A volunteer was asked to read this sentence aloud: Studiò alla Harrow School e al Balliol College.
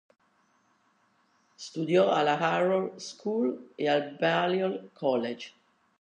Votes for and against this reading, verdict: 1, 2, rejected